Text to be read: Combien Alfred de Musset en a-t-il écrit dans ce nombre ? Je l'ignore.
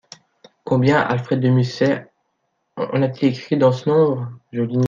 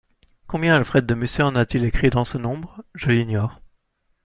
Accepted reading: second